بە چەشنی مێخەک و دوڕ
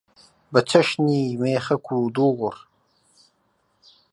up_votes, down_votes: 1, 2